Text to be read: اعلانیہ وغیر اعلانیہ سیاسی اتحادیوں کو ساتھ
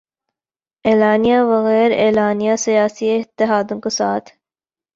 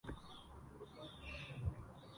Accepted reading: first